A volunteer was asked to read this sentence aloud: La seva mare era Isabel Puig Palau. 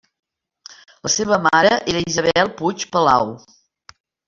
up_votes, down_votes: 0, 2